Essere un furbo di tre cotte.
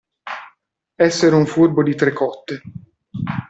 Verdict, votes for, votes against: accepted, 2, 0